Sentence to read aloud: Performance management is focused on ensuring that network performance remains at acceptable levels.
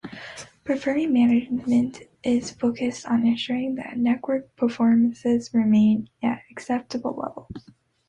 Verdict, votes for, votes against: rejected, 0, 2